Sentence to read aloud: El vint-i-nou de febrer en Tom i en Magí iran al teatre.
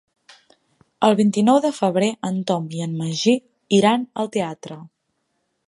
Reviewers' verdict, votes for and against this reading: accepted, 6, 0